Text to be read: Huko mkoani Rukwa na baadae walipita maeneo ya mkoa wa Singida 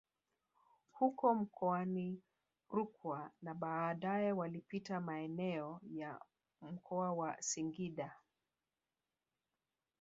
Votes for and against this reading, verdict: 2, 3, rejected